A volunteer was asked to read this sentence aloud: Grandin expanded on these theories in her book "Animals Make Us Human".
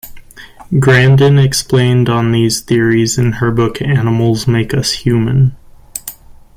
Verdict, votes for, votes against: rejected, 0, 2